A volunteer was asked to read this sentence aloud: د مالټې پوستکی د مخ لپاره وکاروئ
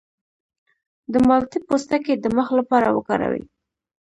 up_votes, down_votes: 2, 0